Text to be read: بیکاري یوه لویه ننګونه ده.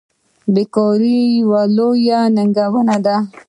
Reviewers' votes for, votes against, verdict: 0, 2, rejected